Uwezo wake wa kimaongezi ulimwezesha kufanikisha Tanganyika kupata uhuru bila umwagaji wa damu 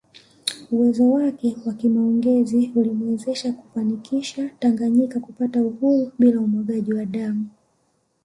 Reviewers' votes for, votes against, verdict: 2, 0, accepted